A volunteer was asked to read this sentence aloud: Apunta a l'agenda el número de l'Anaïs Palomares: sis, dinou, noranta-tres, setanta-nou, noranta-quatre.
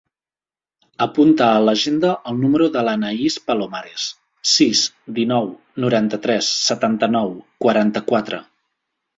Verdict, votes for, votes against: rejected, 2, 3